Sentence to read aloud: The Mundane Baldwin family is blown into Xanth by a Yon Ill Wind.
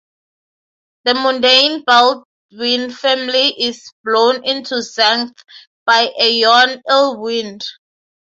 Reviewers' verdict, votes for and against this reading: accepted, 3, 0